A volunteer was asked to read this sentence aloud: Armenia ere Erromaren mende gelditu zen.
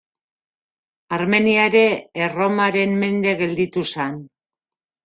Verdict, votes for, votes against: rejected, 0, 2